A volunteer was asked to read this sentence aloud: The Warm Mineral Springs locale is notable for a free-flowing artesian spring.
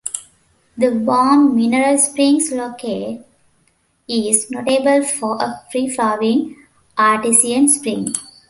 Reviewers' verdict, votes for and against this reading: rejected, 1, 2